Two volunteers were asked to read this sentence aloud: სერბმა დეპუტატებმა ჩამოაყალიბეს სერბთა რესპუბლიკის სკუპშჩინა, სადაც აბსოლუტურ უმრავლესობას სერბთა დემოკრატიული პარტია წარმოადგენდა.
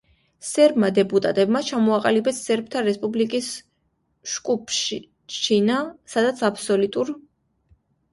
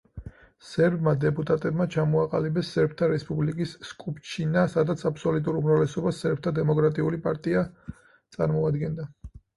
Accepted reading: second